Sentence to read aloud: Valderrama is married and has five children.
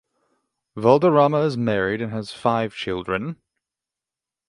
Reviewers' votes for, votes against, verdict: 3, 3, rejected